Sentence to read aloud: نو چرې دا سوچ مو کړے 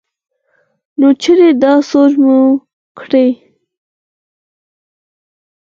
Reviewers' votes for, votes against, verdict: 4, 0, accepted